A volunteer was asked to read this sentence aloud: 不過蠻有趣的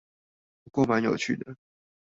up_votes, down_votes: 0, 2